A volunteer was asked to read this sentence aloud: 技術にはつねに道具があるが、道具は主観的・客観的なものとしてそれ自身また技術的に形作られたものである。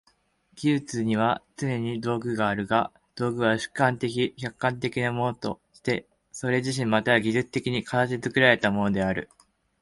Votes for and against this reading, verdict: 1, 2, rejected